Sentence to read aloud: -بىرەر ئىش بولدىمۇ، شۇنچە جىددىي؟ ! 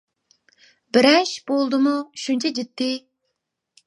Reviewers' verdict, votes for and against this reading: rejected, 1, 2